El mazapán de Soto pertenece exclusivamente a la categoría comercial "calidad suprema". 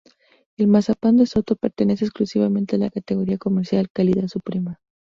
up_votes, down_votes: 2, 0